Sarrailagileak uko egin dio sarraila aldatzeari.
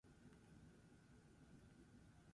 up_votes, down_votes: 0, 8